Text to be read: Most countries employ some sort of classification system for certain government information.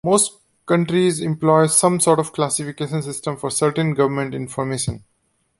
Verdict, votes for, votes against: accepted, 2, 0